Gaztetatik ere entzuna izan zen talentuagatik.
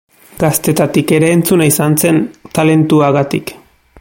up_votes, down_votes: 2, 0